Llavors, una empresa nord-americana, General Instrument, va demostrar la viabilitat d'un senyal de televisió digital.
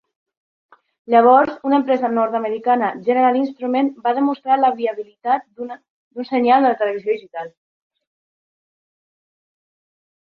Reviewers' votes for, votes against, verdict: 1, 2, rejected